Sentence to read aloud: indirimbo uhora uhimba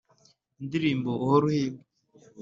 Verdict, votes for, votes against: accepted, 3, 0